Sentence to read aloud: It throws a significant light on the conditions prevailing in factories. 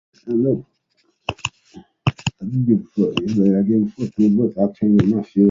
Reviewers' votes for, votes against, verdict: 0, 2, rejected